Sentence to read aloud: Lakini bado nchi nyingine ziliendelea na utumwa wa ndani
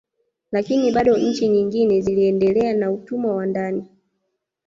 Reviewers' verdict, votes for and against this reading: rejected, 0, 2